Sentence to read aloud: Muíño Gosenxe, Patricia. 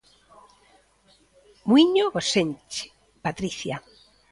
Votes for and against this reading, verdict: 2, 1, accepted